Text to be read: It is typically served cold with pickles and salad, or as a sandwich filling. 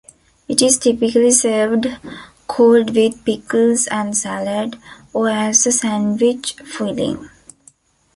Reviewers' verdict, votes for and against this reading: rejected, 0, 2